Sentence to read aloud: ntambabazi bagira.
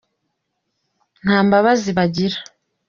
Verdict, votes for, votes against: accepted, 2, 0